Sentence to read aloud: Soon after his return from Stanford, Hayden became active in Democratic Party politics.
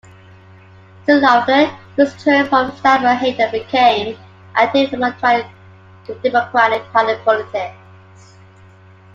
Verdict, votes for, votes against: rejected, 0, 2